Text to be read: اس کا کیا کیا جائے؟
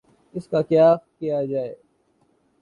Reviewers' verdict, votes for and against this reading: accepted, 2, 0